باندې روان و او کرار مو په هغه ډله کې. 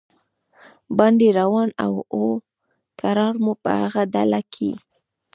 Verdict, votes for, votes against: accepted, 2, 1